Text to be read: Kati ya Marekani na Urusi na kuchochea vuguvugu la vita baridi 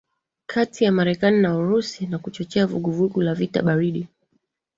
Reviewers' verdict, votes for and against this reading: accepted, 2, 1